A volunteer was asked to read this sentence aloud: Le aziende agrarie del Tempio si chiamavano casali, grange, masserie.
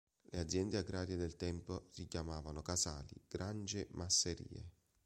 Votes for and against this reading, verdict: 0, 3, rejected